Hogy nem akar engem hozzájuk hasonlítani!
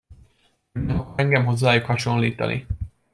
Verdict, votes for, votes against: rejected, 0, 2